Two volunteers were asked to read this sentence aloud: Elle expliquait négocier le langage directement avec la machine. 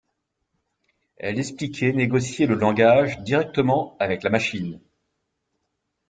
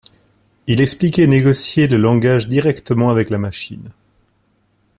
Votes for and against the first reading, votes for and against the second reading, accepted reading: 2, 0, 1, 2, first